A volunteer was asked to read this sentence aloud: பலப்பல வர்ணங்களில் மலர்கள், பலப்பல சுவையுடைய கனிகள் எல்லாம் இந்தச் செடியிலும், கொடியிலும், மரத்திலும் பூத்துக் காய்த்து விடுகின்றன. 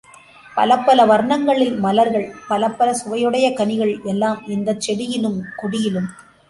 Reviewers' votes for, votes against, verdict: 0, 2, rejected